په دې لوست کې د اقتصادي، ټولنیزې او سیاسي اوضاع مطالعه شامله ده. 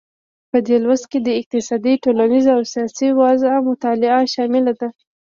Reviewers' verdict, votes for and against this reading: rejected, 1, 2